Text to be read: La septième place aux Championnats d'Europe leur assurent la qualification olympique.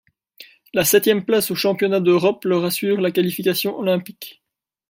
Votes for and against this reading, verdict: 2, 0, accepted